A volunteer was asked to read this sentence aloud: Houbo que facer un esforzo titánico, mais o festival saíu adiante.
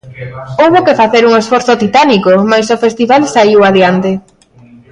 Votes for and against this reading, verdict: 2, 0, accepted